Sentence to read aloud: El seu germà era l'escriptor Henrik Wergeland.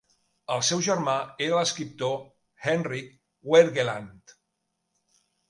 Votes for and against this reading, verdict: 2, 0, accepted